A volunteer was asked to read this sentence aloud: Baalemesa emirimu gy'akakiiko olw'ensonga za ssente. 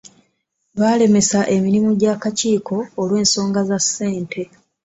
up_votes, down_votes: 2, 0